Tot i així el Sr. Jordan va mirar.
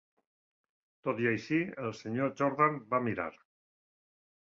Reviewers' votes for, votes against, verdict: 2, 0, accepted